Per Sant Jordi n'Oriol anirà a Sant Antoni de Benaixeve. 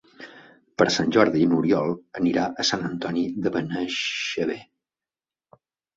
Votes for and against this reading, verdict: 0, 2, rejected